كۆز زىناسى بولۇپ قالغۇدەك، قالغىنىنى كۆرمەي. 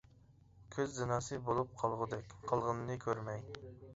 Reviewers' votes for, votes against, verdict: 2, 0, accepted